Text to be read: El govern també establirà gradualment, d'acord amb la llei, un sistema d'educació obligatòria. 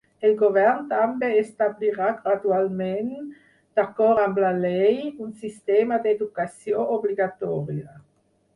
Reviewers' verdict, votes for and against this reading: rejected, 0, 4